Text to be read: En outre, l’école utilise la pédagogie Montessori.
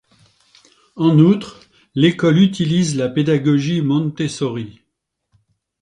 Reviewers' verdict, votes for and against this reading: rejected, 0, 2